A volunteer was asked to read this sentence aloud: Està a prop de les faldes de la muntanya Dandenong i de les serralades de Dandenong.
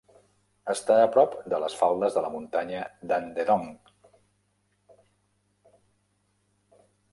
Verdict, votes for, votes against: rejected, 0, 2